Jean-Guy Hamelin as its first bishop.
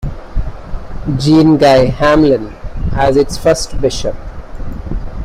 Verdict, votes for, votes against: accepted, 2, 1